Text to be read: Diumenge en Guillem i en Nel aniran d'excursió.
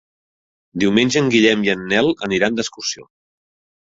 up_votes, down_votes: 3, 0